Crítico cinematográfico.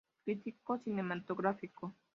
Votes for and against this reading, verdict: 0, 2, rejected